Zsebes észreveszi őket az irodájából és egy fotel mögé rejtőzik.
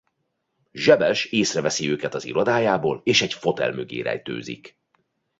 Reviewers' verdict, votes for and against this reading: accepted, 2, 0